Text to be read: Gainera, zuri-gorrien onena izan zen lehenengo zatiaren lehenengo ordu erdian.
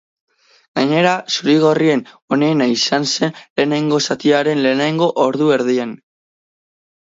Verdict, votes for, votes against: rejected, 0, 2